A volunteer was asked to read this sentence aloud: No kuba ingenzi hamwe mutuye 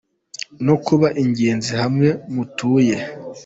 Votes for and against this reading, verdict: 3, 0, accepted